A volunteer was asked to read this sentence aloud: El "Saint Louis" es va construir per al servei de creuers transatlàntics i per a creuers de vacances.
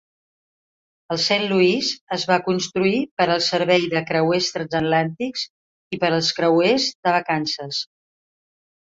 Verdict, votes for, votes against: rejected, 1, 3